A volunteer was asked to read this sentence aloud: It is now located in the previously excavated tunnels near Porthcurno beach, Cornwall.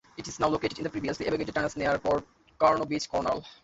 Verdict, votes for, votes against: rejected, 0, 2